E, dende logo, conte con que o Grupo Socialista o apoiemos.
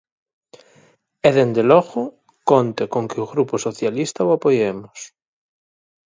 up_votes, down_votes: 4, 0